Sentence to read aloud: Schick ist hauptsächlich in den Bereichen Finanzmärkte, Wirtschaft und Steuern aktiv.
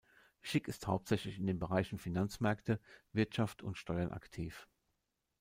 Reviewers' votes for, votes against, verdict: 1, 2, rejected